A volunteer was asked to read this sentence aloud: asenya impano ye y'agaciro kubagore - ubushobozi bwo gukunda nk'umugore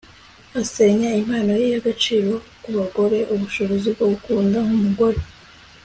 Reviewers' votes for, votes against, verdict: 2, 0, accepted